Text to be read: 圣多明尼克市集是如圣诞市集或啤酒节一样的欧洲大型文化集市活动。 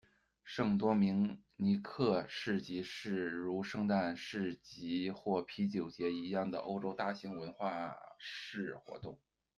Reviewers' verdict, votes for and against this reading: rejected, 1, 2